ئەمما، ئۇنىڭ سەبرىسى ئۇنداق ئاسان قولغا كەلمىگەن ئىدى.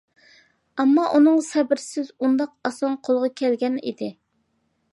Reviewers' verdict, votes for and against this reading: rejected, 0, 2